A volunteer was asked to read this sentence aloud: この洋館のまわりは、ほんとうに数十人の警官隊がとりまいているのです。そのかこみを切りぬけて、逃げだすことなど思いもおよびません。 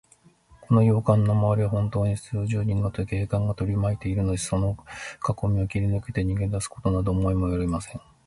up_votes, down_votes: 5, 2